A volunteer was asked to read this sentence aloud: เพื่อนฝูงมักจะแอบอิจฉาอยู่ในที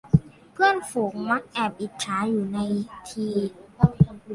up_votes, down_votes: 1, 3